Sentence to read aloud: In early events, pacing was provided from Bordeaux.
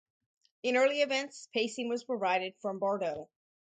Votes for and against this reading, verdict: 2, 2, rejected